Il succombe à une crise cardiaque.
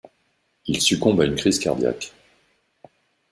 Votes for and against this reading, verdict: 2, 0, accepted